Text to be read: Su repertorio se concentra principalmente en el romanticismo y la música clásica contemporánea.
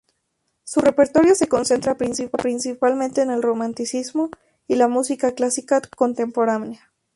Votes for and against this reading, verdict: 0, 2, rejected